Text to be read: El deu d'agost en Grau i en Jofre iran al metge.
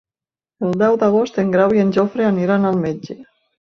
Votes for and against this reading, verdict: 1, 3, rejected